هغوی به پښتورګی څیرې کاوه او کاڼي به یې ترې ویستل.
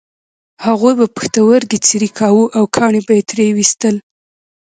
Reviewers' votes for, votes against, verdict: 1, 2, rejected